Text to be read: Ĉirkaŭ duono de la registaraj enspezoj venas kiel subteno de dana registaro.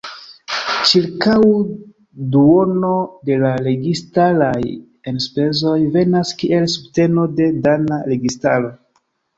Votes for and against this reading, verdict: 0, 2, rejected